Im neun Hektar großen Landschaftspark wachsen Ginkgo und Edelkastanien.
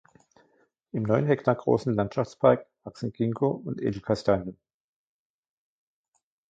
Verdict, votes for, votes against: rejected, 1, 2